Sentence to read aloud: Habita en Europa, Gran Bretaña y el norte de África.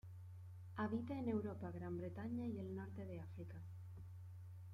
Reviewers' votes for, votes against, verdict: 0, 2, rejected